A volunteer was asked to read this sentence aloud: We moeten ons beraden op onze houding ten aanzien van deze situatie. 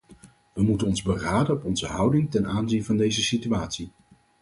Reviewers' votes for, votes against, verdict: 0, 4, rejected